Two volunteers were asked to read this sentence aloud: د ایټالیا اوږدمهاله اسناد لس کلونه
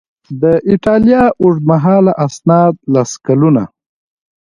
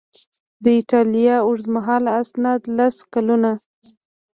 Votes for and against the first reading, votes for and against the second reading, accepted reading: 2, 1, 1, 2, first